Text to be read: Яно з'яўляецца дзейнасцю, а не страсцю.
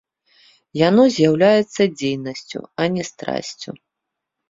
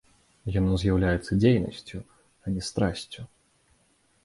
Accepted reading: first